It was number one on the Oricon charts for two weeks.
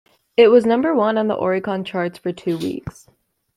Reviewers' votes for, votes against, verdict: 2, 0, accepted